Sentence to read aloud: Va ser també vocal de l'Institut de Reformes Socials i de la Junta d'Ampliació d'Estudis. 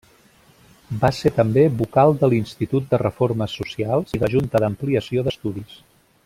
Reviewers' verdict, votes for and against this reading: rejected, 0, 2